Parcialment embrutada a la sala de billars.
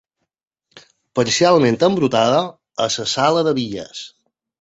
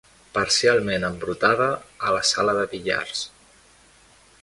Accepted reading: second